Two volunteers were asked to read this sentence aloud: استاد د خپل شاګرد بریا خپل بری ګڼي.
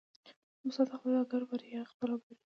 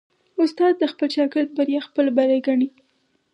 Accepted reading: second